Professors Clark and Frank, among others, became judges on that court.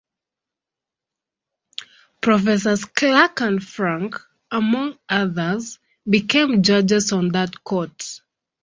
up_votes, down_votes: 1, 2